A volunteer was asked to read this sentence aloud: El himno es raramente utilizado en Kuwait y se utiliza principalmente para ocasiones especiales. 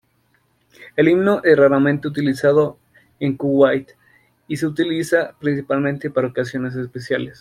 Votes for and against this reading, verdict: 2, 0, accepted